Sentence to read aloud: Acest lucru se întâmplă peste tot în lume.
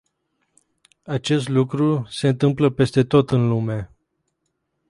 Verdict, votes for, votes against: rejected, 0, 2